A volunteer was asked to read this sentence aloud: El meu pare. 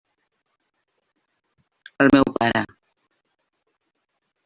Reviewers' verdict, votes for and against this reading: accepted, 3, 0